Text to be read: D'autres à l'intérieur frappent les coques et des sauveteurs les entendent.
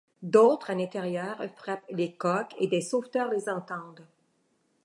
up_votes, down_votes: 2, 0